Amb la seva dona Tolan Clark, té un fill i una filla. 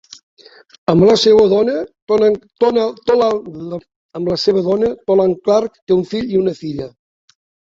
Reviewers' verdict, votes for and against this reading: rejected, 0, 2